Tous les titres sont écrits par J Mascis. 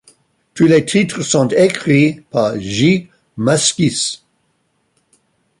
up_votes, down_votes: 2, 1